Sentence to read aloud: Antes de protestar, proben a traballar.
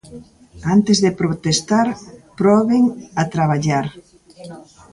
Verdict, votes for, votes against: rejected, 0, 2